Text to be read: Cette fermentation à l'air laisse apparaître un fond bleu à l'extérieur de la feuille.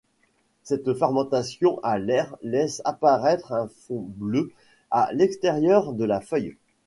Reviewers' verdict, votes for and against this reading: accepted, 2, 0